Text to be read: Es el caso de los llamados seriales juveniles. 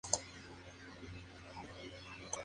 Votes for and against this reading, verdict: 0, 2, rejected